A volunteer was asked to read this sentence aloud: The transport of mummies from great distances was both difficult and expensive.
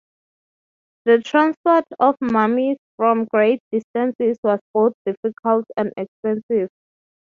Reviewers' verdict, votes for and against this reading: accepted, 6, 0